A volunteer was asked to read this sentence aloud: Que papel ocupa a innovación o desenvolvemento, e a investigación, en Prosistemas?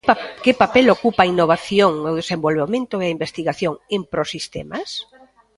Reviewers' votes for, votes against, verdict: 1, 2, rejected